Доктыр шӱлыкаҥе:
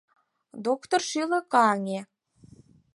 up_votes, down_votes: 4, 0